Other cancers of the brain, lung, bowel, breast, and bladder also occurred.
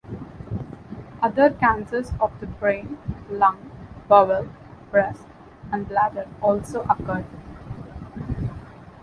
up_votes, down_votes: 2, 0